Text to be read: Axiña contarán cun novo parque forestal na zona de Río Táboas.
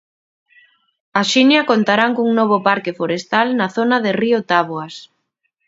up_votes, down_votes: 2, 0